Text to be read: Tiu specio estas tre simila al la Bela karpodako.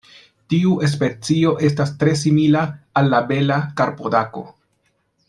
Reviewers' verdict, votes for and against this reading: rejected, 1, 2